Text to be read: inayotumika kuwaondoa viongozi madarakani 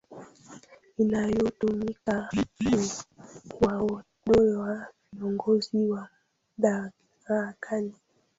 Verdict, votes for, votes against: rejected, 0, 2